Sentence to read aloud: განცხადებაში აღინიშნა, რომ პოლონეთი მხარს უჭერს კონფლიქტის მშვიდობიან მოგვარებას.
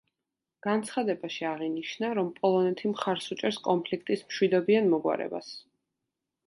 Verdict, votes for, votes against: accepted, 2, 0